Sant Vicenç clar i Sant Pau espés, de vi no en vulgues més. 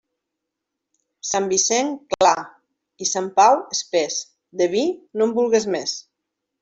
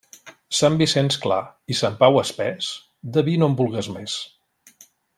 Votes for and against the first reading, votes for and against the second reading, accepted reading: 1, 2, 3, 0, second